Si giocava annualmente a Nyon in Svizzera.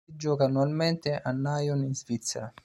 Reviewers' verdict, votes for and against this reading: rejected, 0, 2